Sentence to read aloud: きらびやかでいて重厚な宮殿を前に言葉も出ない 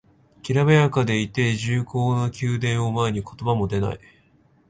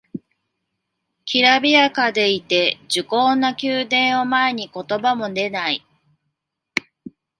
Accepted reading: first